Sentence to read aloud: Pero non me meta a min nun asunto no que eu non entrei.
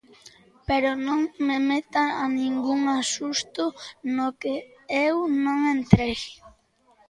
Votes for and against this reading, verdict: 0, 2, rejected